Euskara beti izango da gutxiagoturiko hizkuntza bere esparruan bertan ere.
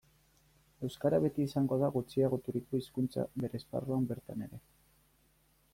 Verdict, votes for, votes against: accepted, 3, 0